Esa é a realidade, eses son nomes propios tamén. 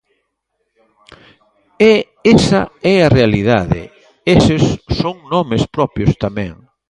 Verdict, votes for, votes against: rejected, 0, 2